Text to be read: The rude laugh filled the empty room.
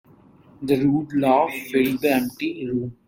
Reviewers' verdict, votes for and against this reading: accepted, 2, 1